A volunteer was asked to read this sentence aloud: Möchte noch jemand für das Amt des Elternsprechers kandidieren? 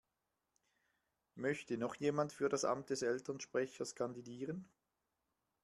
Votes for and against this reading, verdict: 1, 2, rejected